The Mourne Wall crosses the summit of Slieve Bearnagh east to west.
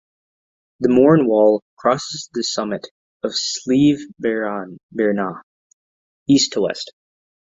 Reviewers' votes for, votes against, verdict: 0, 2, rejected